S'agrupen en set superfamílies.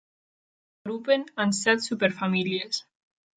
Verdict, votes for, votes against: rejected, 0, 2